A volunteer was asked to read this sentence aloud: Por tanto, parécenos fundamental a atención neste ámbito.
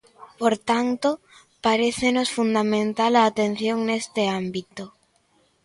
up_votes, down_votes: 2, 0